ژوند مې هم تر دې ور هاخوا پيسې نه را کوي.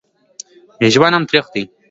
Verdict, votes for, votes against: rejected, 1, 2